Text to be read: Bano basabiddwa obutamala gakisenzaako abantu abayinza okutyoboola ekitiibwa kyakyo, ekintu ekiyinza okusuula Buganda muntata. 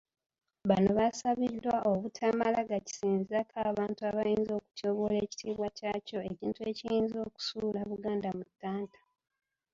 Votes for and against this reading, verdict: 1, 2, rejected